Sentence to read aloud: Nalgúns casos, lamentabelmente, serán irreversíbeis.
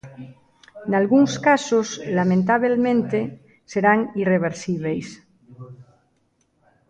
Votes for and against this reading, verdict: 1, 2, rejected